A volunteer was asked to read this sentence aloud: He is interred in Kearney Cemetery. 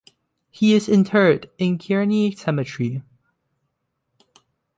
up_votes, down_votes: 1, 2